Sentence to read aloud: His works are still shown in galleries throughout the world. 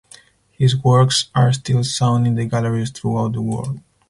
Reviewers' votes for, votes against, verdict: 2, 4, rejected